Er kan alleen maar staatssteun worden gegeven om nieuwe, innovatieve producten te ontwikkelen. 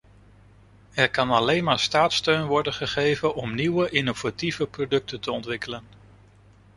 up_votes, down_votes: 2, 0